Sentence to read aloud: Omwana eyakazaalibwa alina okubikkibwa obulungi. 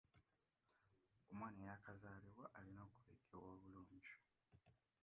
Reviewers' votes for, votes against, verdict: 0, 2, rejected